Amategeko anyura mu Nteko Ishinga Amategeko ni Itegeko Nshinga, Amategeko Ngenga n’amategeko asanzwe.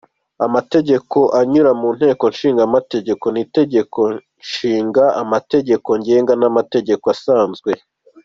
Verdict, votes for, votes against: accepted, 2, 0